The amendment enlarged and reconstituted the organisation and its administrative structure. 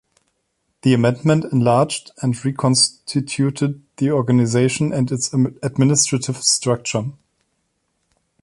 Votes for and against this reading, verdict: 2, 0, accepted